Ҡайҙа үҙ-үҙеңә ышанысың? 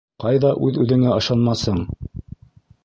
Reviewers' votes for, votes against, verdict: 1, 2, rejected